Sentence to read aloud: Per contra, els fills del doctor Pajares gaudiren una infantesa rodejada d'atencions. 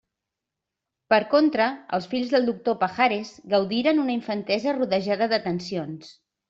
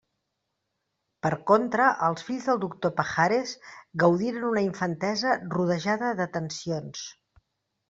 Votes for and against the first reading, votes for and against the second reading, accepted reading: 2, 0, 1, 2, first